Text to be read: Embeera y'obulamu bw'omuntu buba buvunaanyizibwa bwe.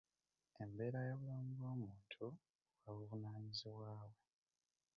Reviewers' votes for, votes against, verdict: 0, 2, rejected